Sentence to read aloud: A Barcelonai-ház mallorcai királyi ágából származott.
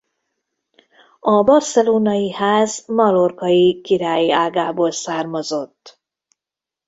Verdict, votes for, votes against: rejected, 1, 2